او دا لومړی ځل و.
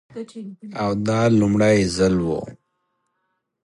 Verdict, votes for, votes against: accepted, 2, 0